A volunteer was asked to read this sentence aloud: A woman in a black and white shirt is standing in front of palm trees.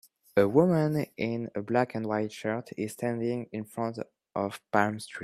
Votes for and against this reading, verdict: 1, 2, rejected